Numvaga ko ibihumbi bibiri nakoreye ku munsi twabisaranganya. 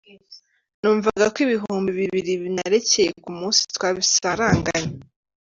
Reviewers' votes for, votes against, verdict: 0, 2, rejected